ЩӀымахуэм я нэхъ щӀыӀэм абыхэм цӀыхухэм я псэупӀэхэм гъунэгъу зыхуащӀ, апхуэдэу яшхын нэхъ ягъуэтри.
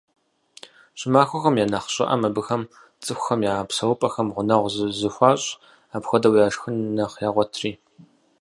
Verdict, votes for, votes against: rejected, 2, 4